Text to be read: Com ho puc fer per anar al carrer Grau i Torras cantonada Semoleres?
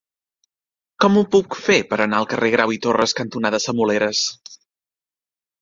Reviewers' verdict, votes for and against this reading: accepted, 4, 0